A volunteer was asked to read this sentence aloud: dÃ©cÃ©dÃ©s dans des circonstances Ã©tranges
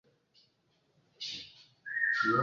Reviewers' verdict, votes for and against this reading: rejected, 0, 2